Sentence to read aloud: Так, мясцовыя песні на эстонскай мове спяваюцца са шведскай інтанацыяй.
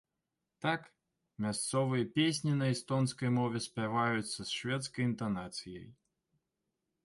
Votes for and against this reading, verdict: 0, 2, rejected